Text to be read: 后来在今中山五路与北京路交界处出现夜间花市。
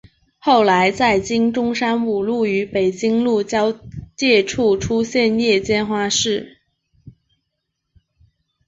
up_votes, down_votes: 9, 0